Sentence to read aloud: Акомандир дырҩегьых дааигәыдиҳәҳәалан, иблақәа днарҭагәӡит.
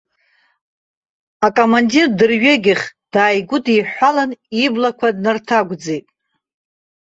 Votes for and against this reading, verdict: 0, 2, rejected